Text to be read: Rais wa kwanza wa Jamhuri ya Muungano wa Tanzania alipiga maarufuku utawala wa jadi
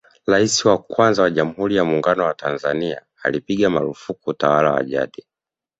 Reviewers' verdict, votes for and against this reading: accepted, 2, 0